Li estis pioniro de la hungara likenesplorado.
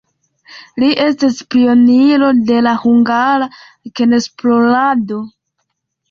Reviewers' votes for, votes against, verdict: 2, 3, rejected